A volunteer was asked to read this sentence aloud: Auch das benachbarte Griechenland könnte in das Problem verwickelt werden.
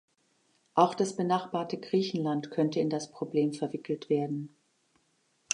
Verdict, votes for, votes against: accepted, 2, 0